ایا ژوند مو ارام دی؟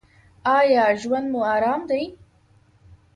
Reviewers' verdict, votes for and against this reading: accepted, 2, 1